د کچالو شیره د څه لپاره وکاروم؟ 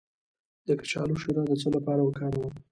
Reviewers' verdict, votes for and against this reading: accepted, 2, 1